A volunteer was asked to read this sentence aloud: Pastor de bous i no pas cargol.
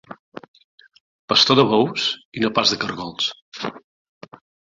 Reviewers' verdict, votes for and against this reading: rejected, 1, 2